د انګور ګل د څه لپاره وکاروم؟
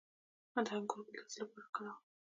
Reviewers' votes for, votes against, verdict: 0, 2, rejected